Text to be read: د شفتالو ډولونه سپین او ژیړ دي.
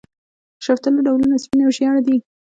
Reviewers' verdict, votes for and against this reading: accepted, 2, 1